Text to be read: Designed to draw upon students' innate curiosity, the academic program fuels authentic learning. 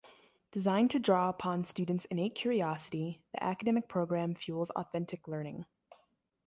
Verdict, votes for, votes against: accepted, 2, 0